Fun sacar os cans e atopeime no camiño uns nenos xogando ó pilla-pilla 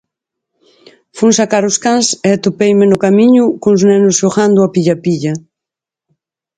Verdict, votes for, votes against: rejected, 2, 4